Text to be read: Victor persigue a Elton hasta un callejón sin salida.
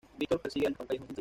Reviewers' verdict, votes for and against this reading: accepted, 2, 0